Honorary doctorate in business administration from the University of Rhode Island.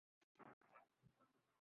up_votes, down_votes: 0, 2